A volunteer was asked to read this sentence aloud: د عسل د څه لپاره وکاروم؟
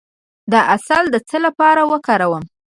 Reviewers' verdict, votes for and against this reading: rejected, 1, 2